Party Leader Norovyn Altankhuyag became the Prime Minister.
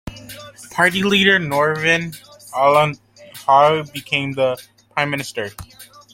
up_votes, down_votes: 1, 2